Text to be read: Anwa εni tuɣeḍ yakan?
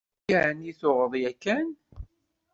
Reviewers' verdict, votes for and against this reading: rejected, 0, 2